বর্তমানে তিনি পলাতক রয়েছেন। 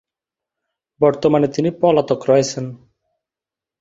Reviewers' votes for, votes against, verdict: 2, 1, accepted